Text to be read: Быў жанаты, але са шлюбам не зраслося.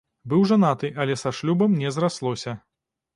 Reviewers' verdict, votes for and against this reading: accepted, 2, 0